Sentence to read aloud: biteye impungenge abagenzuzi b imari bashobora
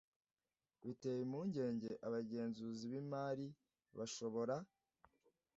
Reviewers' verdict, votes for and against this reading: accepted, 2, 0